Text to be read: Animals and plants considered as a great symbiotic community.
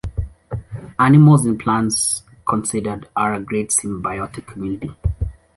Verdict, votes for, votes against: rejected, 1, 2